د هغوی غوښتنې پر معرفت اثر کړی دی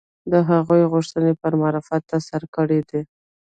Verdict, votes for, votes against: rejected, 1, 2